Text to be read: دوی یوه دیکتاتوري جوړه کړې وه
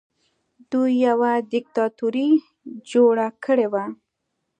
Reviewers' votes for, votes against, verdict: 2, 0, accepted